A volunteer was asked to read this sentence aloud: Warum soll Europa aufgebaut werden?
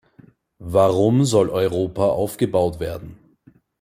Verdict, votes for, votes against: accepted, 2, 0